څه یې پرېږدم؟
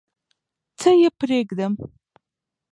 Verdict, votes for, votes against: accepted, 2, 1